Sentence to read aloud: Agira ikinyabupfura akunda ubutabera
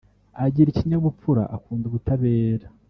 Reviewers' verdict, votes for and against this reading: accepted, 2, 0